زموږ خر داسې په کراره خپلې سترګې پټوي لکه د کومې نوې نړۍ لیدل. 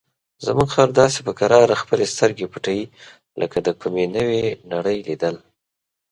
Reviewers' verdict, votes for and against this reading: accepted, 4, 0